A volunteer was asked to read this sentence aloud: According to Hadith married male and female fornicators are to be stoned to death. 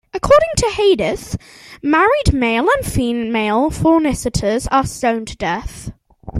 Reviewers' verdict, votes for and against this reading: rejected, 0, 2